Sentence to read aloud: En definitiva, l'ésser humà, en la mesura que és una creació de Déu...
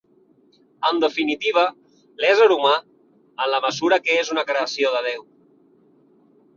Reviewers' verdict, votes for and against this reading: rejected, 1, 2